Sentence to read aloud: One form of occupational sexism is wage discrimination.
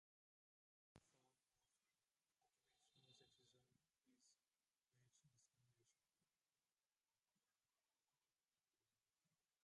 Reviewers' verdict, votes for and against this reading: rejected, 0, 2